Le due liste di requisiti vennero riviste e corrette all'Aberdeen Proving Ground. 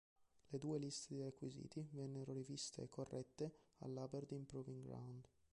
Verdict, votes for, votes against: rejected, 0, 2